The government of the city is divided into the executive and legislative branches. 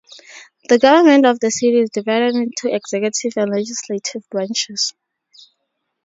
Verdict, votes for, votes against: rejected, 0, 4